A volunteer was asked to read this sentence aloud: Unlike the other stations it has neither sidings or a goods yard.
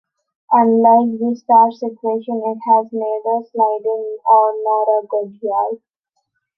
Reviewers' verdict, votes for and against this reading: rejected, 0, 2